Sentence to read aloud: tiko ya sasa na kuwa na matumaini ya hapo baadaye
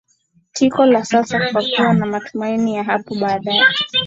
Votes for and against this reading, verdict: 1, 2, rejected